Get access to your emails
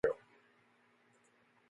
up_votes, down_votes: 0, 2